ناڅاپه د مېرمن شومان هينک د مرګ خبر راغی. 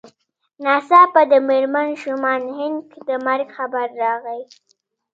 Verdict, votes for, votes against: accepted, 2, 0